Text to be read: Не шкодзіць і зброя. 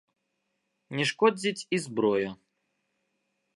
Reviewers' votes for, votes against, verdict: 2, 0, accepted